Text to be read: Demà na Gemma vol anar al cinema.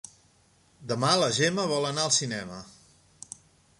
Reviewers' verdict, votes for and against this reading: rejected, 0, 2